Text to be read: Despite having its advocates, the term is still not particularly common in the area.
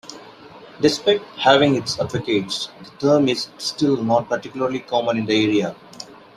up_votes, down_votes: 2, 0